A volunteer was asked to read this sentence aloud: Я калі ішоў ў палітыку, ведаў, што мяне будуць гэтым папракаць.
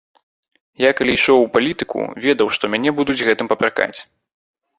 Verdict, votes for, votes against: accepted, 3, 0